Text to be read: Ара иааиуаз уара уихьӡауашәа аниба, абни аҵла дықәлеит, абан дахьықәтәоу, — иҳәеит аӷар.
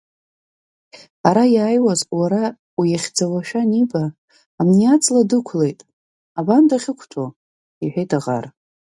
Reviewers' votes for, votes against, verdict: 3, 4, rejected